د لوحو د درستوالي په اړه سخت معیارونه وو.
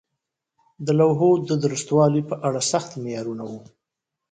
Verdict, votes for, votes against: accepted, 2, 0